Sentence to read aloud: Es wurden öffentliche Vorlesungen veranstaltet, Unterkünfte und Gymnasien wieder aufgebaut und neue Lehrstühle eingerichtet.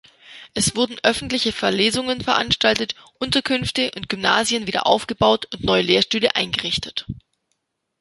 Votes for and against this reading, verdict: 1, 2, rejected